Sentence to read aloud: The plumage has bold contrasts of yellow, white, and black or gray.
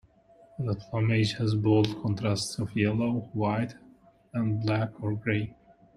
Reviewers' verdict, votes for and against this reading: rejected, 0, 2